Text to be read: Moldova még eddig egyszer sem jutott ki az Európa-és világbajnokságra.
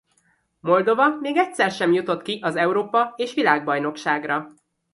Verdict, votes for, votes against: rejected, 0, 2